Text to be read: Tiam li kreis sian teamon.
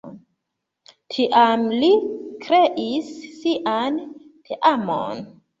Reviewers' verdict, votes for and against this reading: accepted, 2, 1